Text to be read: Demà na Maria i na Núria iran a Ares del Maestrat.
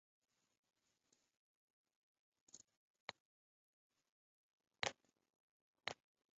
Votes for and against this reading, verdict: 0, 2, rejected